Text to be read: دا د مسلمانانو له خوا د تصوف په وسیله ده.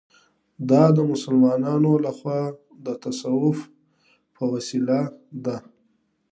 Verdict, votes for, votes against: accepted, 2, 0